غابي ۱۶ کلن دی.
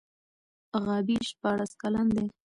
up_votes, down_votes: 0, 2